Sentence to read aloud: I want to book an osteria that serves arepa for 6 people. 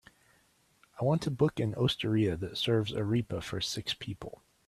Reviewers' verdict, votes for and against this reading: rejected, 0, 2